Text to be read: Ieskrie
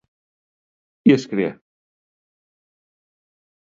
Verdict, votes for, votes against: rejected, 1, 2